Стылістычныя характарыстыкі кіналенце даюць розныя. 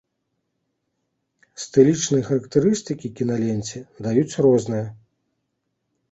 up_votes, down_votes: 0, 2